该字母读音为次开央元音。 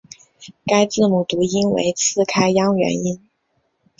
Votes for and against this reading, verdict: 3, 1, accepted